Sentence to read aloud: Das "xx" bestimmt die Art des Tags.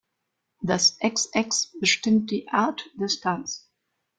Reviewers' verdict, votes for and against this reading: accepted, 2, 0